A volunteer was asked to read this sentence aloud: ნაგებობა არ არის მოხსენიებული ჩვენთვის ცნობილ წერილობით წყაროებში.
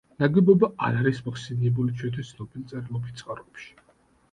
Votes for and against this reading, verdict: 2, 1, accepted